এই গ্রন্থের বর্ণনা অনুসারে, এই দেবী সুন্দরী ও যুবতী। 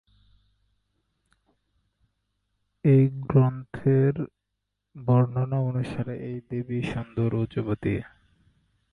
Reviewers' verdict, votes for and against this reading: rejected, 2, 2